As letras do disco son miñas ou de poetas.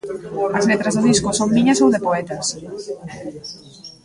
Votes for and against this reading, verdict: 2, 0, accepted